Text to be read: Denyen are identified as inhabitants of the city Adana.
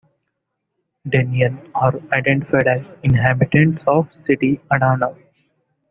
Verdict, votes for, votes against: accepted, 2, 1